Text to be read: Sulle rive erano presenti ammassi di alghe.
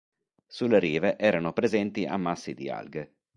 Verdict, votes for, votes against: accepted, 3, 0